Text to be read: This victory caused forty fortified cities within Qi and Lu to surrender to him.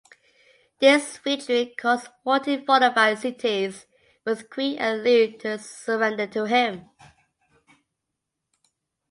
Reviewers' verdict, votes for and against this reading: rejected, 1, 2